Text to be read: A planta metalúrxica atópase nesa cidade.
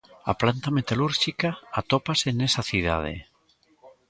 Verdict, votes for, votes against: rejected, 0, 2